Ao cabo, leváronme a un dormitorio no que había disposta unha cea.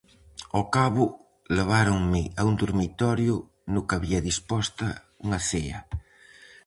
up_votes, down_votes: 4, 0